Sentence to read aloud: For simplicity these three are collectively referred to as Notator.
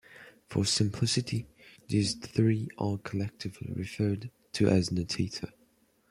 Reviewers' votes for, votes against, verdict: 2, 0, accepted